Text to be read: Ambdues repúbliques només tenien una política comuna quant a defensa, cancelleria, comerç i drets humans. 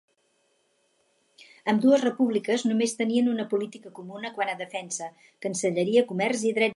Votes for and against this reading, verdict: 2, 4, rejected